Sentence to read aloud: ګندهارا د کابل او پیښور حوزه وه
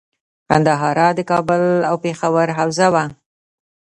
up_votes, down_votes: 2, 1